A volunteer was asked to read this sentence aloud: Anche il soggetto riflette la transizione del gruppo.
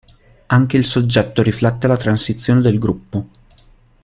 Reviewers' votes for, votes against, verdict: 2, 1, accepted